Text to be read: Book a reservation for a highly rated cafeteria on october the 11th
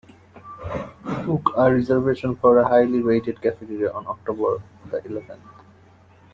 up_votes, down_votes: 0, 2